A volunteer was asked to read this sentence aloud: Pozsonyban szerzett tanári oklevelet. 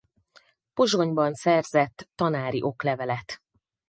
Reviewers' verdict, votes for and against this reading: accepted, 4, 0